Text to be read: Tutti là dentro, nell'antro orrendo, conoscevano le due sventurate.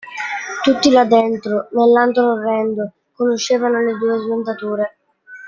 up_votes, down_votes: 1, 2